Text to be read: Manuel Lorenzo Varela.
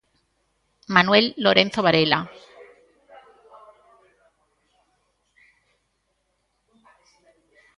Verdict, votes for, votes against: rejected, 1, 2